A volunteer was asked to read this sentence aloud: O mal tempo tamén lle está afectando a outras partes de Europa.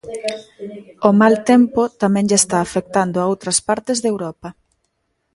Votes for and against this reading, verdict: 1, 2, rejected